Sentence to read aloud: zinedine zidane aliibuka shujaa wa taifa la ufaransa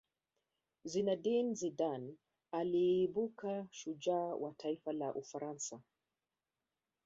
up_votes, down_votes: 2, 1